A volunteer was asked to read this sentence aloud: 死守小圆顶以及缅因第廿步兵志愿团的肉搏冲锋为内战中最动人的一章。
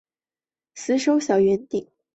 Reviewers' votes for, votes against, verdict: 4, 2, accepted